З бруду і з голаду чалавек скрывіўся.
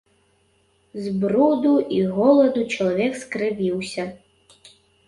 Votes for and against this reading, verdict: 0, 2, rejected